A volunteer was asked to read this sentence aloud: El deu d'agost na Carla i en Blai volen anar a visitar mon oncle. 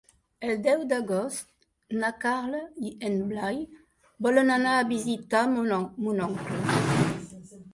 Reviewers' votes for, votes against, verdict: 1, 2, rejected